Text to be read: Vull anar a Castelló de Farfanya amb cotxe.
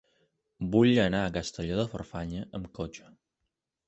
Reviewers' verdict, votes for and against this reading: accepted, 3, 0